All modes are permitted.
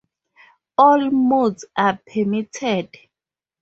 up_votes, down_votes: 4, 0